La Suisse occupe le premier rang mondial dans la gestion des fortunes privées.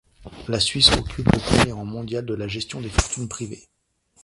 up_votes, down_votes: 1, 2